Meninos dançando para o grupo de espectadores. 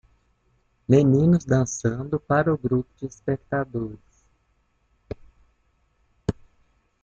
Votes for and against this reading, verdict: 0, 2, rejected